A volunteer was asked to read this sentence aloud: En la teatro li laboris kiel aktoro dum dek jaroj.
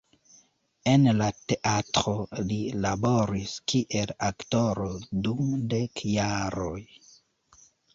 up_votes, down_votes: 1, 2